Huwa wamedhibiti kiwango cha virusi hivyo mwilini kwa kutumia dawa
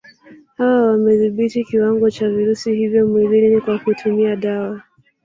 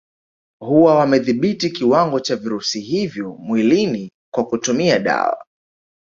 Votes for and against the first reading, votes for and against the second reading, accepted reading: 1, 2, 2, 0, second